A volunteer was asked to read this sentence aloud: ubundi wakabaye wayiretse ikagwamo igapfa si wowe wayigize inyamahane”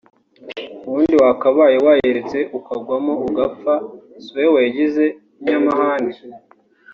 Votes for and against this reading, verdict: 0, 2, rejected